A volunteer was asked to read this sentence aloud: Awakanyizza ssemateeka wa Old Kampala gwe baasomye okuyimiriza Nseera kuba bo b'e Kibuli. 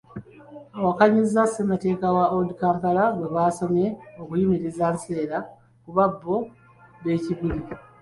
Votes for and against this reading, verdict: 2, 0, accepted